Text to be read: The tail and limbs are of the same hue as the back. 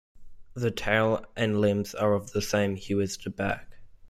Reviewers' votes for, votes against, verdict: 2, 0, accepted